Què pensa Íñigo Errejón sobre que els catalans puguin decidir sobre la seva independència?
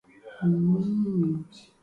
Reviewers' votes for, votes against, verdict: 0, 2, rejected